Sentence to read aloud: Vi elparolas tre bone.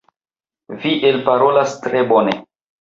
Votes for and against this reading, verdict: 2, 1, accepted